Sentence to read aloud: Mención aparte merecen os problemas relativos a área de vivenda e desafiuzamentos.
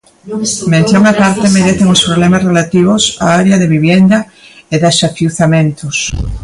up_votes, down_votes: 0, 2